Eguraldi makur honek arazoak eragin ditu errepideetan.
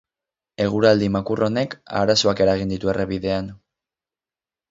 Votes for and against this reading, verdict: 0, 4, rejected